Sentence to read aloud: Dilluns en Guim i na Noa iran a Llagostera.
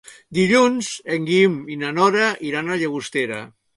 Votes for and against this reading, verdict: 0, 2, rejected